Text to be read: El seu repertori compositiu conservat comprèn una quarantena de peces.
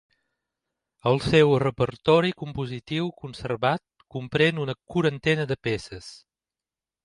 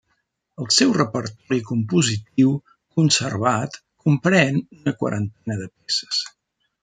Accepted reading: first